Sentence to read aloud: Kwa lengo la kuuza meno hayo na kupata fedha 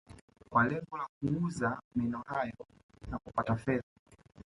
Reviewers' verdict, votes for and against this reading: rejected, 0, 2